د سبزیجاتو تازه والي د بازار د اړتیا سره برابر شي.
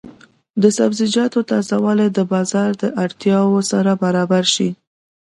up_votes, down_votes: 2, 0